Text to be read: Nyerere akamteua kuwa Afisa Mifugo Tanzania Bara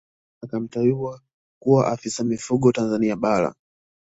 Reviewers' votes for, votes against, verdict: 0, 2, rejected